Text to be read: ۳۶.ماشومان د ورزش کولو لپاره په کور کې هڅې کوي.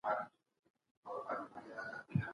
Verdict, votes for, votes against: rejected, 0, 2